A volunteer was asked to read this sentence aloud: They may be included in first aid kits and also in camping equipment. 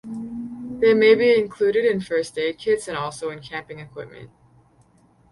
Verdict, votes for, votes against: rejected, 0, 2